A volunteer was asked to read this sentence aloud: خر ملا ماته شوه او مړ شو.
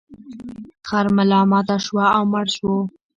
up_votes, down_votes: 0, 2